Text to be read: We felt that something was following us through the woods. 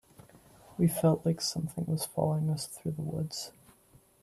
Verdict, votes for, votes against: rejected, 1, 2